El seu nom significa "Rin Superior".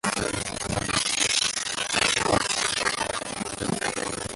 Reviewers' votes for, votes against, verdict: 0, 2, rejected